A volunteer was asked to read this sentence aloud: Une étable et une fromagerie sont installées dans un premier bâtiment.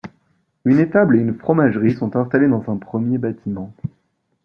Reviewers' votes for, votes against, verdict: 2, 0, accepted